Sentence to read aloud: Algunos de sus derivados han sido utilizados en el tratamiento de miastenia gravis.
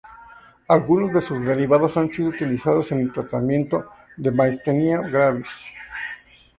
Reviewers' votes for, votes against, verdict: 0, 2, rejected